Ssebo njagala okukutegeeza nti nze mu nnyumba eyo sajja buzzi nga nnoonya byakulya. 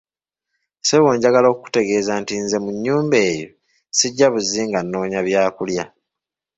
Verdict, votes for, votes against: rejected, 1, 3